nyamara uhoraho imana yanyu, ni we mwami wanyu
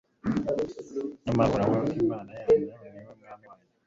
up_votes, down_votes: 1, 2